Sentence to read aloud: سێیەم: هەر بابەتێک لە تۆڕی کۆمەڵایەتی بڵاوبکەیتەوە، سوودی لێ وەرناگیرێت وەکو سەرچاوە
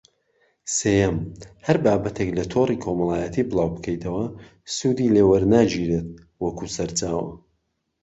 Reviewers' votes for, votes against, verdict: 3, 0, accepted